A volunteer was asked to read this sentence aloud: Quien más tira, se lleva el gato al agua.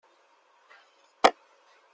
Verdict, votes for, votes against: rejected, 0, 2